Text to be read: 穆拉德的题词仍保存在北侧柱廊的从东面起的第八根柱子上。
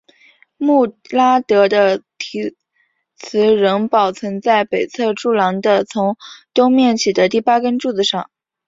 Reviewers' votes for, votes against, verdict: 5, 1, accepted